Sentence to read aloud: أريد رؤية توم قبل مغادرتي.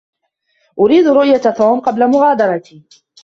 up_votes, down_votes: 2, 1